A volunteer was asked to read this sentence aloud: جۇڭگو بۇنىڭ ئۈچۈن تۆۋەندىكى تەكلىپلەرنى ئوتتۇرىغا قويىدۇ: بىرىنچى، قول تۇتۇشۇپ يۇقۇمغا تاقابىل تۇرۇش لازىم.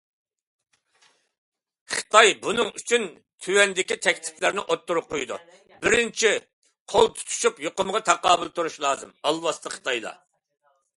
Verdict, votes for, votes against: rejected, 0, 2